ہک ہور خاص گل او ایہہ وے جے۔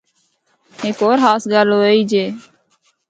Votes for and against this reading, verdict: 0, 2, rejected